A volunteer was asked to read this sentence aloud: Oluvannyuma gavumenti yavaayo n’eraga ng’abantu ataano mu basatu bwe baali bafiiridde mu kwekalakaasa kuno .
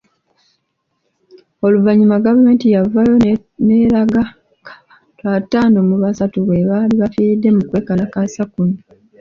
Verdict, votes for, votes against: rejected, 1, 2